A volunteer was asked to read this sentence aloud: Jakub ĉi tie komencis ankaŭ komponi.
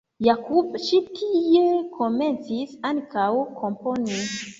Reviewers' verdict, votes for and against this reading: rejected, 2, 3